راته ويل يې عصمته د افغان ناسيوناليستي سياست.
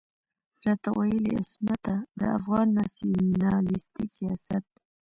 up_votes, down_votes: 2, 0